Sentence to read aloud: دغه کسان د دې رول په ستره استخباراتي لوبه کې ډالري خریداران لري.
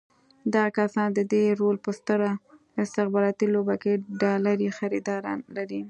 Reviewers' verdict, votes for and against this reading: accepted, 2, 1